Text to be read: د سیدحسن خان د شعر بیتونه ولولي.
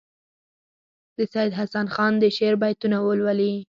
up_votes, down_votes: 4, 2